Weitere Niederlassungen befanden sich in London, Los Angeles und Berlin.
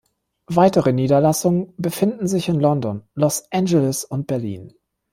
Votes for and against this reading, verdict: 1, 3, rejected